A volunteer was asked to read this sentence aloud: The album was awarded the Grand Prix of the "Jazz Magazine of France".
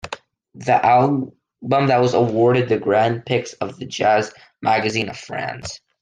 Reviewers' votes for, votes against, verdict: 0, 2, rejected